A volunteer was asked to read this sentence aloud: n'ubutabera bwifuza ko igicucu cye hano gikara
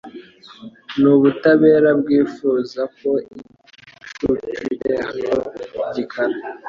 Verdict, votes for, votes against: rejected, 1, 2